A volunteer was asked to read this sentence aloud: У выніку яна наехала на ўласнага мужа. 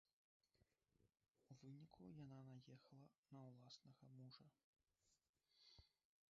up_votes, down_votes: 1, 2